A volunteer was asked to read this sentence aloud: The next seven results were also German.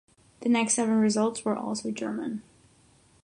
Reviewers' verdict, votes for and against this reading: accepted, 6, 0